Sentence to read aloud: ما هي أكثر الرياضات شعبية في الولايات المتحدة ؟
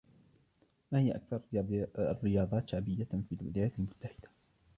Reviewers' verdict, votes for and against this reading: rejected, 0, 2